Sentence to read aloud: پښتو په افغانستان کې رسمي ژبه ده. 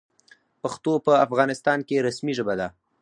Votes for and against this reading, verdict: 2, 2, rejected